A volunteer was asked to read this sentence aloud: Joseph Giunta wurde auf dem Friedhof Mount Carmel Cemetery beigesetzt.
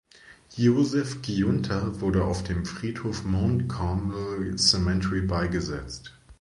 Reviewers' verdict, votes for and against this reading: rejected, 0, 2